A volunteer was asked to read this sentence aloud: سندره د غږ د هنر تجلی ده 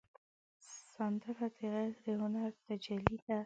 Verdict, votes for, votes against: rejected, 0, 2